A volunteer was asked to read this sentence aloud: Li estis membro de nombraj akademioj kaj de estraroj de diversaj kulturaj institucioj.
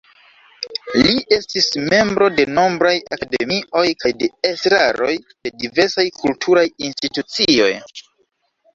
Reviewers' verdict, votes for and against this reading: rejected, 1, 2